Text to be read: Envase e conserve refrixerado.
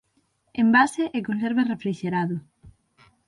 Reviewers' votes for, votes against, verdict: 3, 6, rejected